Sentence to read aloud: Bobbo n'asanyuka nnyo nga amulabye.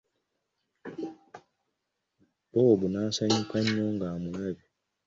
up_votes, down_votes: 1, 2